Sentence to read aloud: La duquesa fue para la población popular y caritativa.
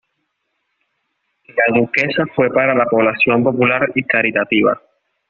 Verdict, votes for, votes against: accepted, 2, 0